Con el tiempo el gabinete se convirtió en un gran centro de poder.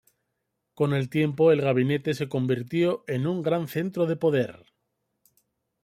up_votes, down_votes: 2, 0